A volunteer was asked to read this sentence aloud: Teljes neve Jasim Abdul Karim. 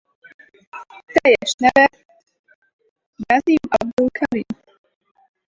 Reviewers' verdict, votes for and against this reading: rejected, 0, 4